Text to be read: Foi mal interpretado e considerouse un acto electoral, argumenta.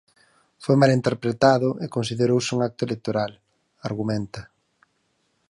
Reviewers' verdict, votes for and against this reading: accepted, 4, 0